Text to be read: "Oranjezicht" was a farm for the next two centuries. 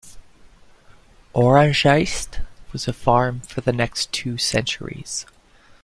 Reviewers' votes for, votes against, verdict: 2, 0, accepted